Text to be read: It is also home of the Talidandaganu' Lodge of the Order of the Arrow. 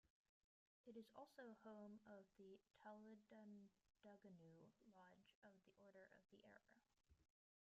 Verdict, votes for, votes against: rejected, 1, 2